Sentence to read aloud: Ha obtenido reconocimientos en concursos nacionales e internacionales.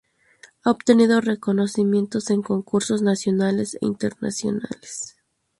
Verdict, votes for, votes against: accepted, 2, 0